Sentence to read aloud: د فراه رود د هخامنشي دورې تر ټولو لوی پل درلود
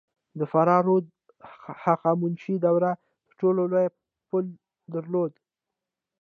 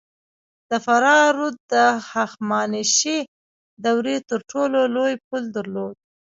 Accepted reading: first